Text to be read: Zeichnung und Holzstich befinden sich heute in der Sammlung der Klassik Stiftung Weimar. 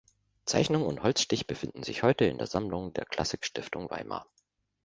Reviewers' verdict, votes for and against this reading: accepted, 2, 0